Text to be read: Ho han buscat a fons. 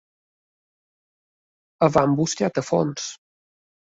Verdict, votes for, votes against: rejected, 2, 3